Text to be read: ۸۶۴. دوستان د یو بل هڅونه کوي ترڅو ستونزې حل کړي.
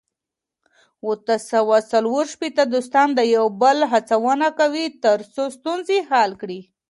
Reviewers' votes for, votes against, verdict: 0, 2, rejected